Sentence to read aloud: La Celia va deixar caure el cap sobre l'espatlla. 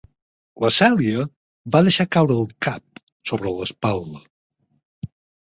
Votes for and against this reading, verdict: 0, 4, rejected